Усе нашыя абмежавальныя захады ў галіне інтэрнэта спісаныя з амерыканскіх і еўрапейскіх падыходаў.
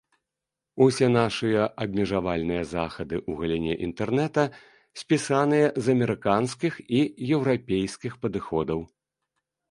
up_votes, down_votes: 2, 0